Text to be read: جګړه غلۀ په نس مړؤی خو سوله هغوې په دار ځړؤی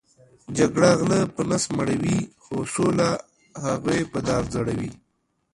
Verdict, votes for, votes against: rejected, 1, 2